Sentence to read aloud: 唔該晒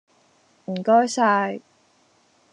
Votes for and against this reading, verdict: 2, 0, accepted